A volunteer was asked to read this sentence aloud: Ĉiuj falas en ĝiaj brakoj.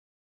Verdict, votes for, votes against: rejected, 0, 2